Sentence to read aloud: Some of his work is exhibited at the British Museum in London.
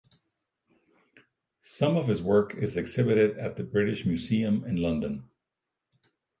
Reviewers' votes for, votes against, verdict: 4, 0, accepted